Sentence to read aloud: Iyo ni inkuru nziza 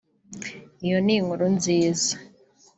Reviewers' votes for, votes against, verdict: 2, 0, accepted